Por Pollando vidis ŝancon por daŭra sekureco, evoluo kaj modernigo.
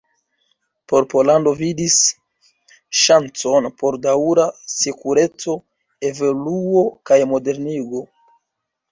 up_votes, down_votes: 0, 2